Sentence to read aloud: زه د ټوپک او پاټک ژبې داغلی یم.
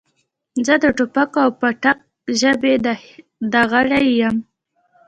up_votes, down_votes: 1, 2